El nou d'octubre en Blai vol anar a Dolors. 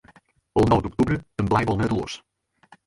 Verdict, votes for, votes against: rejected, 2, 4